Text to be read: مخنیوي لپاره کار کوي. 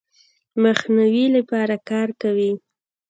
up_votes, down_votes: 2, 0